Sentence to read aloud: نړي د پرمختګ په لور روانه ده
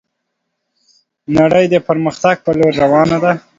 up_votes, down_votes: 2, 1